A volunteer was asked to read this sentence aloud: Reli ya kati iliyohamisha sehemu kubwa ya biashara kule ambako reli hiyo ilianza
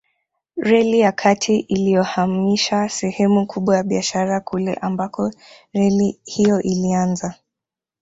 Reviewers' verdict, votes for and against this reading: rejected, 1, 2